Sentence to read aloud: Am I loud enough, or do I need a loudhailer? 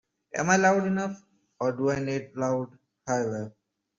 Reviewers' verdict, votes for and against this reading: rejected, 0, 2